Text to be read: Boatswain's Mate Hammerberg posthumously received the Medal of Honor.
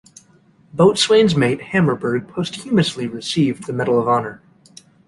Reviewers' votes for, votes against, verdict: 2, 0, accepted